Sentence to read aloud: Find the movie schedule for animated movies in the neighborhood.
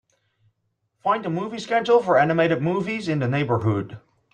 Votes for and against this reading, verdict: 2, 0, accepted